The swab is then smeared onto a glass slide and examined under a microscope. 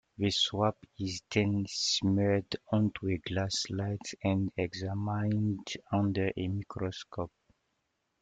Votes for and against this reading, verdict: 1, 2, rejected